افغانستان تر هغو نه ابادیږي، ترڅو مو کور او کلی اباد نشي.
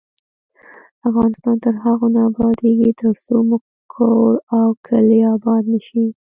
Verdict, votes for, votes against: rejected, 1, 2